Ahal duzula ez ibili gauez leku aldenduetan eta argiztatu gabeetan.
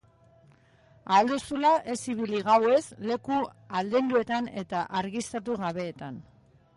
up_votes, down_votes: 2, 1